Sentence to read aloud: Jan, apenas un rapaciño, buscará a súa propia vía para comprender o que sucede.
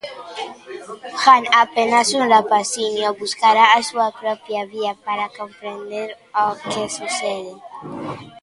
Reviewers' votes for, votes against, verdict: 2, 1, accepted